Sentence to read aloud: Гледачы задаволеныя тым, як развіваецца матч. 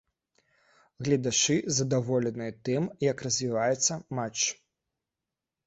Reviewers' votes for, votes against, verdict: 2, 0, accepted